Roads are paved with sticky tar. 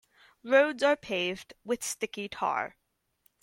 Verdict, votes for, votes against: accepted, 4, 0